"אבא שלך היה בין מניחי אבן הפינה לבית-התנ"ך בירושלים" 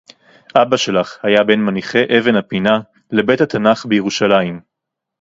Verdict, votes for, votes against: rejected, 2, 2